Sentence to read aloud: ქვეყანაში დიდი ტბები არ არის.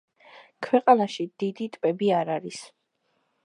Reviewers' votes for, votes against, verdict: 2, 0, accepted